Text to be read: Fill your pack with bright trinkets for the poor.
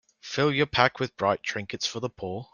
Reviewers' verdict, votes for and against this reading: accepted, 2, 0